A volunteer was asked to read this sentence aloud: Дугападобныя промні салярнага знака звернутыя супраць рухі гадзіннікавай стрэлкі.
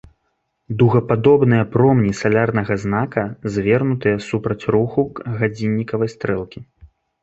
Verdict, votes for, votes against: rejected, 1, 2